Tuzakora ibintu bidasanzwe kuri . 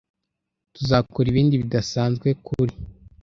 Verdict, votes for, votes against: rejected, 0, 2